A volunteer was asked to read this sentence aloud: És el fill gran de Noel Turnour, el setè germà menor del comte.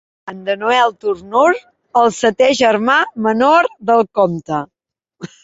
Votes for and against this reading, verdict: 0, 2, rejected